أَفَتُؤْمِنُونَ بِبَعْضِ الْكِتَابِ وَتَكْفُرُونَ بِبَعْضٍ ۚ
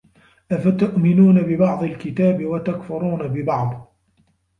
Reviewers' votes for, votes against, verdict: 2, 0, accepted